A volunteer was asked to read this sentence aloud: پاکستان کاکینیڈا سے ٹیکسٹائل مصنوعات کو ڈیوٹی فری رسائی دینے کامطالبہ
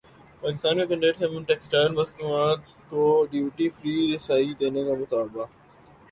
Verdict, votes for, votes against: accepted, 3, 0